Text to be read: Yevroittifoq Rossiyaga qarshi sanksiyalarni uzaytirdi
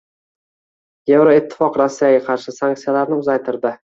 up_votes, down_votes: 2, 0